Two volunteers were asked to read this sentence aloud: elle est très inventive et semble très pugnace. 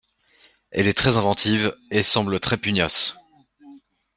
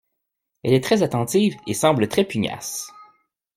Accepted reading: first